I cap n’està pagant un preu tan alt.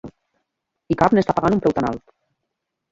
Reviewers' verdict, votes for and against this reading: rejected, 0, 2